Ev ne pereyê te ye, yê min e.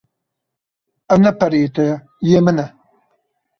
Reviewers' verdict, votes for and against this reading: accepted, 2, 0